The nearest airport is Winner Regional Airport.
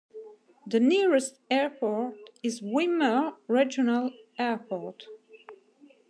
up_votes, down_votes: 2, 0